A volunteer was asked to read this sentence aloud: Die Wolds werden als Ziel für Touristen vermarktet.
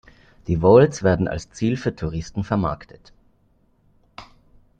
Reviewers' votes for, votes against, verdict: 0, 2, rejected